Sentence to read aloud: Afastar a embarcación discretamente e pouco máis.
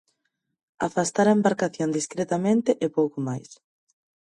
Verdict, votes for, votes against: accepted, 4, 0